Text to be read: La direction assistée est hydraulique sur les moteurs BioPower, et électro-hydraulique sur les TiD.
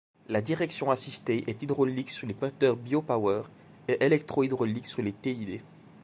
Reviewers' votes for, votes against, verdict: 2, 0, accepted